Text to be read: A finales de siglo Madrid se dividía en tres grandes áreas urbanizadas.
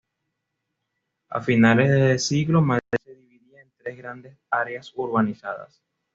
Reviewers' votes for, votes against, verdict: 1, 2, rejected